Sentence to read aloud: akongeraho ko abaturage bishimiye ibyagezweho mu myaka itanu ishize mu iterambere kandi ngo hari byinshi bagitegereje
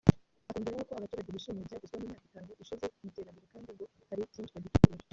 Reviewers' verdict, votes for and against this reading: rejected, 0, 2